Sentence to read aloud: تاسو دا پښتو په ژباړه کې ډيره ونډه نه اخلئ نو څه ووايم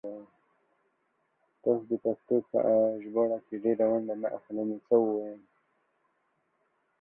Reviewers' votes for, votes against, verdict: 1, 2, rejected